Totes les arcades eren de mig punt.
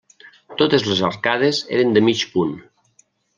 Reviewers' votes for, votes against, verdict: 3, 0, accepted